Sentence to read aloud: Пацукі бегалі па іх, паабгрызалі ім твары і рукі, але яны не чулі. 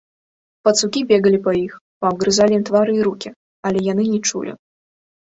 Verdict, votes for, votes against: rejected, 0, 3